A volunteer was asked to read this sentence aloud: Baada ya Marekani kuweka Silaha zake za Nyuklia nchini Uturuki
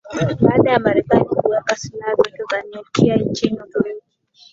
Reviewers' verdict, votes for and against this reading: accepted, 3, 1